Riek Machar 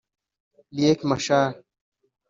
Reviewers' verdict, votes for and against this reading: rejected, 1, 2